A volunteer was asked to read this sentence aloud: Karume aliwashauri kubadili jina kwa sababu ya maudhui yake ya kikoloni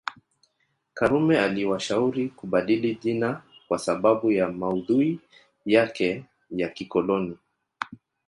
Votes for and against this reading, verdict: 1, 2, rejected